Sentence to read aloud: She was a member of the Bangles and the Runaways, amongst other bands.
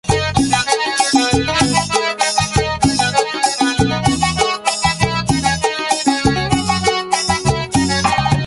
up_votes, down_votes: 0, 2